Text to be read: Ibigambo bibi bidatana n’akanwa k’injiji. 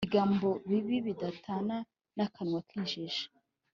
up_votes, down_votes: 3, 0